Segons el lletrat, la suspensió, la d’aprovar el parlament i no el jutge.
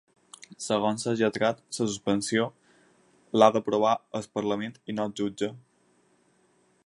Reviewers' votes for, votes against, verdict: 2, 4, rejected